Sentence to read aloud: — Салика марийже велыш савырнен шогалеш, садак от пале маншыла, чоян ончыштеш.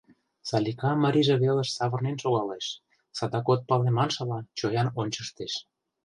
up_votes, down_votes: 2, 0